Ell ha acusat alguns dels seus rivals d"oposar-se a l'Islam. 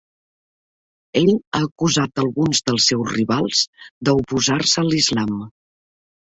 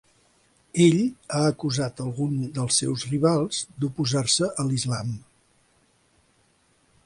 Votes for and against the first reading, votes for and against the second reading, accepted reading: 1, 2, 2, 0, second